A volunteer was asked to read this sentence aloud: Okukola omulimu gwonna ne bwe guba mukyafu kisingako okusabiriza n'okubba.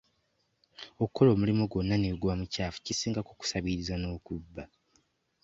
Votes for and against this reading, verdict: 2, 0, accepted